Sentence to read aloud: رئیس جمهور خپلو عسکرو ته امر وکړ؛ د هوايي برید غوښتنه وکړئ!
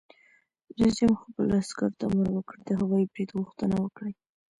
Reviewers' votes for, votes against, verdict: 0, 2, rejected